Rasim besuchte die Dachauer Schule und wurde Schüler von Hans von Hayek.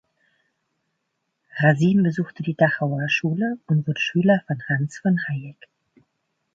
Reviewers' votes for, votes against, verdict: 1, 2, rejected